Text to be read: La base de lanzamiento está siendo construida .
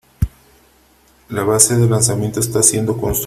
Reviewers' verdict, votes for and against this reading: rejected, 0, 2